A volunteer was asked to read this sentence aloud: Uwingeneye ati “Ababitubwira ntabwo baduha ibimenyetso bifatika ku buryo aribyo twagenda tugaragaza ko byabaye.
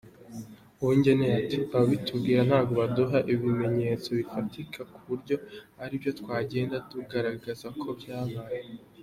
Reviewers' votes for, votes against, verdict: 0, 2, rejected